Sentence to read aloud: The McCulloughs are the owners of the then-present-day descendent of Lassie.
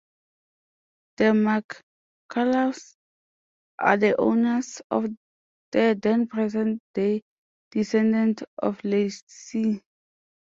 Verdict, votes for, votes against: rejected, 0, 2